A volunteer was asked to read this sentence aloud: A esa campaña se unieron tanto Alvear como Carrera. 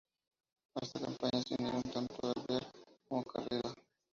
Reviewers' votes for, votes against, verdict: 2, 0, accepted